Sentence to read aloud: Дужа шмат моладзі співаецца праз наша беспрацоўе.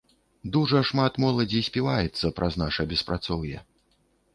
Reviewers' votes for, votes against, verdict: 2, 0, accepted